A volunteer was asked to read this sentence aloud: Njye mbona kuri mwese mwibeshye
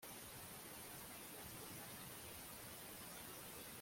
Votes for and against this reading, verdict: 1, 2, rejected